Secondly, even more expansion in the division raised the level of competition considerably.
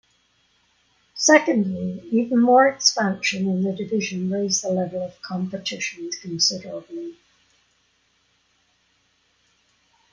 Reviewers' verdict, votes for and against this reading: accepted, 2, 0